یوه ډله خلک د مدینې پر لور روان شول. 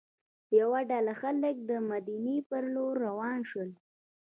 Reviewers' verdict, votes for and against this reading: rejected, 0, 2